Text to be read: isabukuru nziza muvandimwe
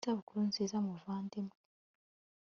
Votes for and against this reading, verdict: 2, 0, accepted